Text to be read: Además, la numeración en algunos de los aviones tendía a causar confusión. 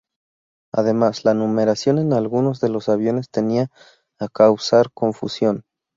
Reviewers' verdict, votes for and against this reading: rejected, 0, 4